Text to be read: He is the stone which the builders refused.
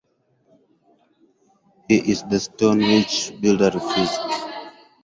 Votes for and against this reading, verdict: 0, 4, rejected